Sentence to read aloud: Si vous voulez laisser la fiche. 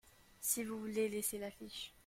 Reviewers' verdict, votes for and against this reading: accepted, 2, 0